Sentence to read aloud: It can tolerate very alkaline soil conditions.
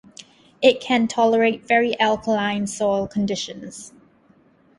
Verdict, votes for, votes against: accepted, 2, 0